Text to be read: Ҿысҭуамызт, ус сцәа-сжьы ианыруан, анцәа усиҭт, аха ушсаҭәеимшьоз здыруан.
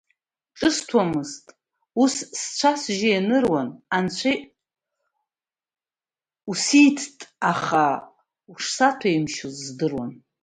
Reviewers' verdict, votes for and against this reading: rejected, 0, 2